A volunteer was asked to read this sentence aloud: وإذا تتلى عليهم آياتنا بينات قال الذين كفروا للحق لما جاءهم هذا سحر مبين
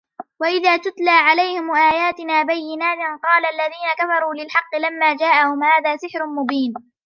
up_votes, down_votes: 1, 2